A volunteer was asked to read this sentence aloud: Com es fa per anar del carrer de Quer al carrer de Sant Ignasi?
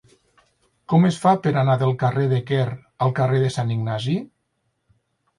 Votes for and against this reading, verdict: 6, 0, accepted